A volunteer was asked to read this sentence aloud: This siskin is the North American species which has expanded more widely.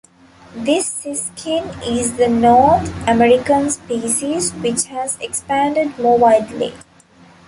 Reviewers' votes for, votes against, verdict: 2, 0, accepted